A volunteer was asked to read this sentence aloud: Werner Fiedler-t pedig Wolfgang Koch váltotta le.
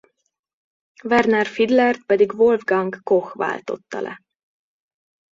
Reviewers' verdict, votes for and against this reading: accepted, 2, 0